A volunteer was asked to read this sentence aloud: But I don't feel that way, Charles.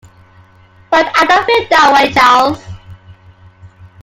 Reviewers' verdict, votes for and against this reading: accepted, 2, 0